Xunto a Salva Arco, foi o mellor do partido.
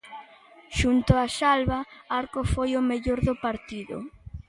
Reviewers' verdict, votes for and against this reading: accepted, 2, 0